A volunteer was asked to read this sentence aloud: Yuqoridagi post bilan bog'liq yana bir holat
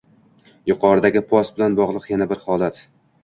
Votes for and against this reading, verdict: 1, 2, rejected